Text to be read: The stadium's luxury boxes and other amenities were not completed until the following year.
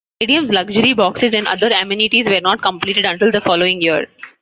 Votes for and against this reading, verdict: 0, 2, rejected